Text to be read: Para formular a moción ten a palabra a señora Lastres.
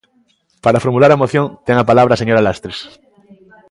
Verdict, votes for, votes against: accepted, 2, 0